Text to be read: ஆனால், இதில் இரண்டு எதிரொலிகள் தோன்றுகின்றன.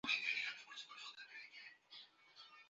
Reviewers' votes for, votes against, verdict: 0, 2, rejected